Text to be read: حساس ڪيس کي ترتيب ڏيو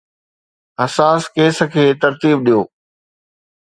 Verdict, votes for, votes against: accepted, 2, 0